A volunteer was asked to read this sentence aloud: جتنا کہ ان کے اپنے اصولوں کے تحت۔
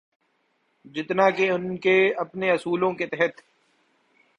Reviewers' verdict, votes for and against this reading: accepted, 2, 0